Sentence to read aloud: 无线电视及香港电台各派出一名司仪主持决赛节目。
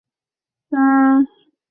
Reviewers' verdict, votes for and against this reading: rejected, 0, 2